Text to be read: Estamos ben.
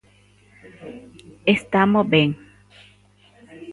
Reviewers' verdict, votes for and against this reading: rejected, 0, 2